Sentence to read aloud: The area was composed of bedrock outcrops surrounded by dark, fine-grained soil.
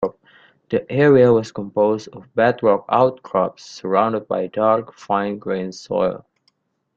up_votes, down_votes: 2, 0